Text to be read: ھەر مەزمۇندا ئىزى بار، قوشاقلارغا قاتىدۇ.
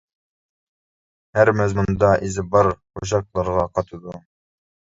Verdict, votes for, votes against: rejected, 1, 2